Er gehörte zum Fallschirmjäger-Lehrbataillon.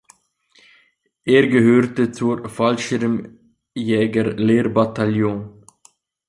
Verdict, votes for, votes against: rejected, 0, 2